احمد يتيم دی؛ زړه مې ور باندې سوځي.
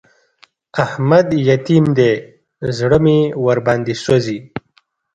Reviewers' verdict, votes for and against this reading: accepted, 2, 0